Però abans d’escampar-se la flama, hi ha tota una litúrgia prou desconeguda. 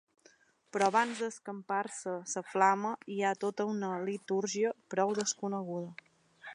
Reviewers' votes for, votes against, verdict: 2, 3, rejected